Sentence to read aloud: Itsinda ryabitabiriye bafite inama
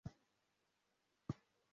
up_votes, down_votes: 0, 2